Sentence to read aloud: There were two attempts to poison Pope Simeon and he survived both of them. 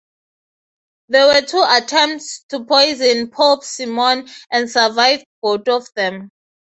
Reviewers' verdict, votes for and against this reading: accepted, 3, 0